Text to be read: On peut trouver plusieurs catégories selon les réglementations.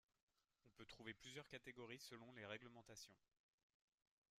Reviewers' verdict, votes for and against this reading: rejected, 0, 2